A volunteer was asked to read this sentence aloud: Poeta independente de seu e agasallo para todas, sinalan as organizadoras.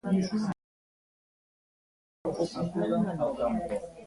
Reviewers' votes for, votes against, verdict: 0, 2, rejected